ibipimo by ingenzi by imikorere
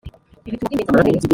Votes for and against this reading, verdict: 0, 3, rejected